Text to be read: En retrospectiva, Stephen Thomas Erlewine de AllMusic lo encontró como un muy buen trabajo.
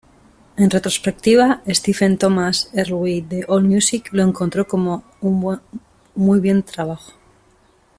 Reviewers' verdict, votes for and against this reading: rejected, 0, 2